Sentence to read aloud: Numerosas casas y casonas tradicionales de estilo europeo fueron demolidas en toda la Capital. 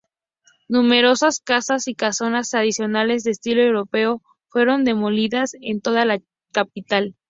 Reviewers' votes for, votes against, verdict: 4, 0, accepted